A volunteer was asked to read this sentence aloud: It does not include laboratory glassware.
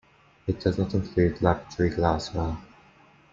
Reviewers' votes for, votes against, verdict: 2, 0, accepted